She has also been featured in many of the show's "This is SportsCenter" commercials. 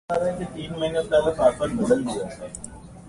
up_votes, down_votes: 0, 2